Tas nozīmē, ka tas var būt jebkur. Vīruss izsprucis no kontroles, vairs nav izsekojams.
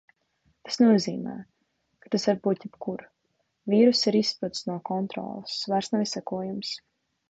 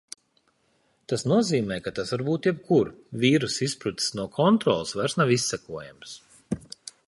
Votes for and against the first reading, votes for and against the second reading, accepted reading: 0, 2, 2, 0, second